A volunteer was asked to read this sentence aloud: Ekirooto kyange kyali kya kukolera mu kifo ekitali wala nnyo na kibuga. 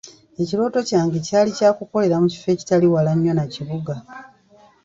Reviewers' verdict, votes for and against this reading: accepted, 2, 0